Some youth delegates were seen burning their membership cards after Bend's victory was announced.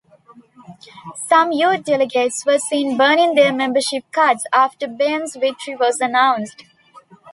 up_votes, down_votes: 2, 1